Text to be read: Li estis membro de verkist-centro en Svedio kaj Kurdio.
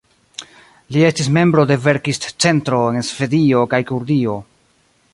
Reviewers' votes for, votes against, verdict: 2, 0, accepted